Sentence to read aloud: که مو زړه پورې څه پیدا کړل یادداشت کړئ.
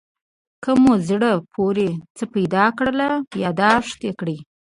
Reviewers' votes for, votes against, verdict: 1, 2, rejected